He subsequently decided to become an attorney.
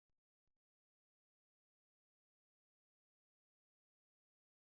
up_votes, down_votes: 0, 2